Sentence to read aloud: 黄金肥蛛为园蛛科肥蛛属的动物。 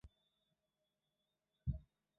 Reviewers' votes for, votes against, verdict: 0, 3, rejected